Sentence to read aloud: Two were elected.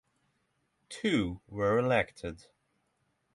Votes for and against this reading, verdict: 3, 0, accepted